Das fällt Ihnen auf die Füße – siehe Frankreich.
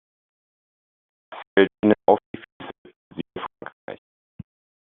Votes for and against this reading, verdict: 0, 2, rejected